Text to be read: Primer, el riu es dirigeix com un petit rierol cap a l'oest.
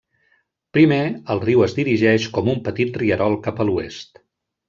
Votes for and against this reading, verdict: 1, 2, rejected